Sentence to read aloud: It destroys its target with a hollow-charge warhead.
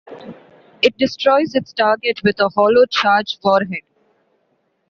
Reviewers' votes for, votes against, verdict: 2, 0, accepted